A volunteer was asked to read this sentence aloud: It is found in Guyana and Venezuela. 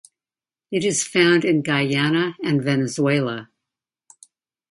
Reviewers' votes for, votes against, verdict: 2, 0, accepted